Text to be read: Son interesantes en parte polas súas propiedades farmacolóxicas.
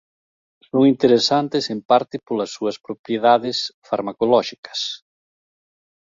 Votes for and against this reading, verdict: 2, 0, accepted